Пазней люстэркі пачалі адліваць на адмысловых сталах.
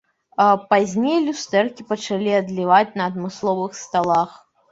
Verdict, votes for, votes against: rejected, 1, 2